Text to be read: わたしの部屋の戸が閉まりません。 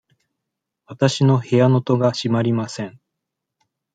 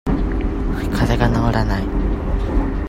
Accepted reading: first